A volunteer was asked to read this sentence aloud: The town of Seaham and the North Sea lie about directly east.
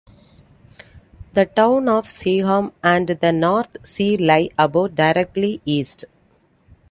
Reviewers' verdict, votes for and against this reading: accepted, 2, 0